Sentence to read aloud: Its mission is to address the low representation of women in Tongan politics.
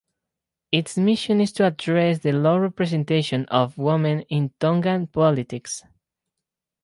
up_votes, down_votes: 2, 0